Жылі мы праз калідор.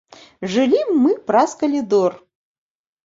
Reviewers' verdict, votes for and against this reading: accepted, 2, 0